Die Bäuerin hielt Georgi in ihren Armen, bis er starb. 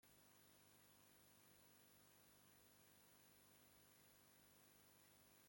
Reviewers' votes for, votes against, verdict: 0, 2, rejected